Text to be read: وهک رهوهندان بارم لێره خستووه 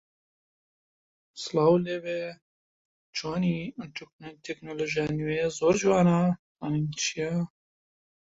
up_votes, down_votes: 0, 2